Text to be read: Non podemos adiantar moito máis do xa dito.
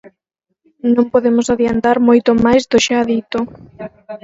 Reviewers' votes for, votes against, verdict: 4, 2, accepted